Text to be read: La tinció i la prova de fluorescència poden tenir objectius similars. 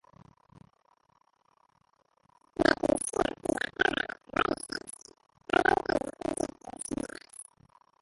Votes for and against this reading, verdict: 0, 2, rejected